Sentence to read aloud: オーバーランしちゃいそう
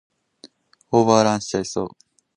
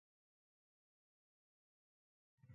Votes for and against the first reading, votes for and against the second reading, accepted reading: 4, 0, 1, 2, first